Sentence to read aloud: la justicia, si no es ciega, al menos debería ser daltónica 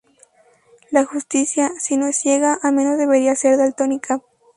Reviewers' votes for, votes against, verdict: 4, 0, accepted